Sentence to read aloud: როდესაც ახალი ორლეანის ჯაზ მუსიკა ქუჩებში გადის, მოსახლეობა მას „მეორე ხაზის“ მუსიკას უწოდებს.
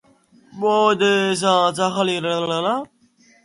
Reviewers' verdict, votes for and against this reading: rejected, 0, 3